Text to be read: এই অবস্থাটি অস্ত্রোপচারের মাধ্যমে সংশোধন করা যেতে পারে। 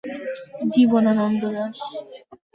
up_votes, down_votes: 0, 3